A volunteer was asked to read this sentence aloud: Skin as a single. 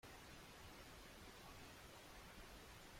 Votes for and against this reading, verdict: 0, 2, rejected